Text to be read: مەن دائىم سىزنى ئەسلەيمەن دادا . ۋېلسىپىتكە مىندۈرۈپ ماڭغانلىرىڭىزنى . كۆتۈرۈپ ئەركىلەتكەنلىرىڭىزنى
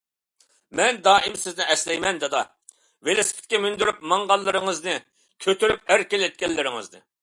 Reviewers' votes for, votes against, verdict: 2, 0, accepted